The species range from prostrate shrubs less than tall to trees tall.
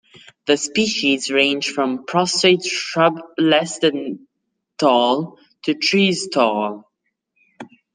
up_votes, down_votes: 2, 0